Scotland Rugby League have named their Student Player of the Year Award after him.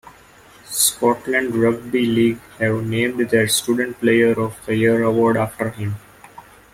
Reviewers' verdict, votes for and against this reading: accepted, 2, 0